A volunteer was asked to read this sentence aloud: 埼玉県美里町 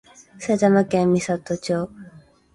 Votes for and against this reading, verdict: 1, 2, rejected